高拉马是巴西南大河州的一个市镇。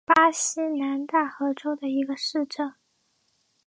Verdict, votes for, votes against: rejected, 1, 2